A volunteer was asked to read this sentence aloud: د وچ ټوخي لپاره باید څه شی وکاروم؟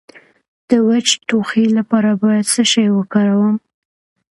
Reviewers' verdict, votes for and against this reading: accepted, 2, 0